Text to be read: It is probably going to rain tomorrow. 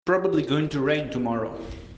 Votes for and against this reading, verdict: 0, 2, rejected